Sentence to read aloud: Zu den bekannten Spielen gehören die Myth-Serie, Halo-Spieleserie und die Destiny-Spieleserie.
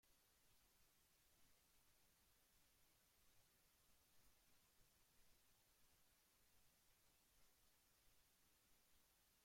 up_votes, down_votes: 0, 2